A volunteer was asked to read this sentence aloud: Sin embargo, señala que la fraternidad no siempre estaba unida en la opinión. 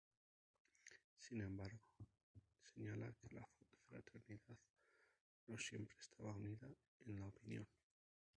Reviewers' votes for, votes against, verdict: 2, 2, rejected